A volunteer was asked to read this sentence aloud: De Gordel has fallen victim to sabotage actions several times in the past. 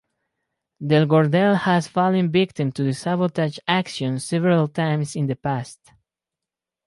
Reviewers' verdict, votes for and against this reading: rejected, 2, 4